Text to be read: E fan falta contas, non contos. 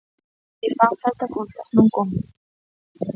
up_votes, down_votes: 0, 2